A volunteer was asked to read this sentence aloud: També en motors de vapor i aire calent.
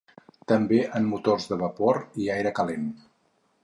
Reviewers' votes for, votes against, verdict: 4, 0, accepted